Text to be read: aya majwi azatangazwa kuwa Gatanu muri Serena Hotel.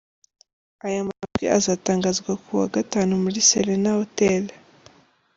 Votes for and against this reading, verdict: 3, 0, accepted